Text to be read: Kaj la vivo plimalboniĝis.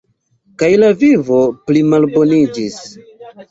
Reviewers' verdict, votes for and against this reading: accepted, 2, 0